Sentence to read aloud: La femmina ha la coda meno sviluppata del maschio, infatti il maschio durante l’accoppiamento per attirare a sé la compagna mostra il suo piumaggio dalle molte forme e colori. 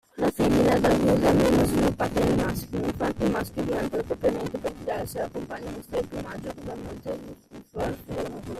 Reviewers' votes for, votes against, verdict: 0, 2, rejected